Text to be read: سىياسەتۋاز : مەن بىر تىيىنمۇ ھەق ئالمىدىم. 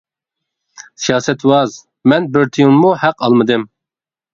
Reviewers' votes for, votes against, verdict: 2, 1, accepted